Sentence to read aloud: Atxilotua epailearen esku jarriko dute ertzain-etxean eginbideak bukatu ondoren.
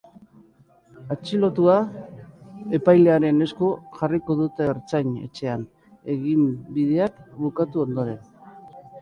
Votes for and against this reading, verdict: 3, 0, accepted